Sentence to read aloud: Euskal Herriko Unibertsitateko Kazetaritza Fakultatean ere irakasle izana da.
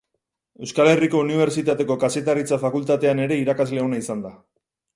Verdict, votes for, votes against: rejected, 0, 6